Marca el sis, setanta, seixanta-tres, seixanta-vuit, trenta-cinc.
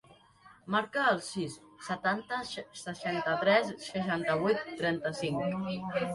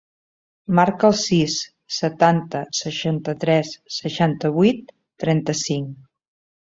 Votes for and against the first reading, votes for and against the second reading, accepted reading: 0, 2, 4, 0, second